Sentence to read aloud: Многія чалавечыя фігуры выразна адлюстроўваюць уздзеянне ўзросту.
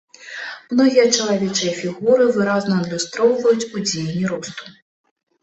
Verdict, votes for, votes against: rejected, 1, 3